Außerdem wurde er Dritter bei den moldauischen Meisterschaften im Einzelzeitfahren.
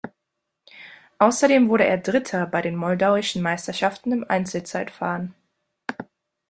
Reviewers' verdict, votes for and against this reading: accepted, 2, 0